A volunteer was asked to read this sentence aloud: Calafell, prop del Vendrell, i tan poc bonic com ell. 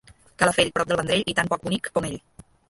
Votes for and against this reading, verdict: 0, 2, rejected